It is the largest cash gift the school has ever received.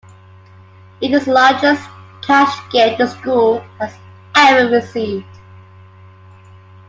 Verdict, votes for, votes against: accepted, 2, 1